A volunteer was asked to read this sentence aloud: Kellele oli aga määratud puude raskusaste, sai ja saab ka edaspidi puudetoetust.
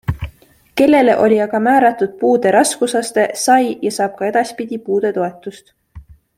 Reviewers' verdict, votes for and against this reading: accepted, 3, 0